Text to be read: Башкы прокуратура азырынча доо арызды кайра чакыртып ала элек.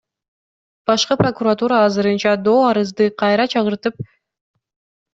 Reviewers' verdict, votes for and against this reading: rejected, 0, 2